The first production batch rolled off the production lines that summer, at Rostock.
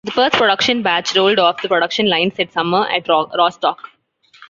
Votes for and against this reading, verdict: 1, 2, rejected